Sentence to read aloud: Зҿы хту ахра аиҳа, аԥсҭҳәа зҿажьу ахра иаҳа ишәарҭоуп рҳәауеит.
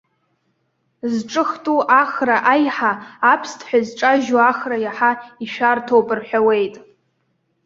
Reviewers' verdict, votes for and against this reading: rejected, 1, 2